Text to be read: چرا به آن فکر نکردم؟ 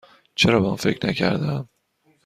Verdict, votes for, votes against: accepted, 2, 0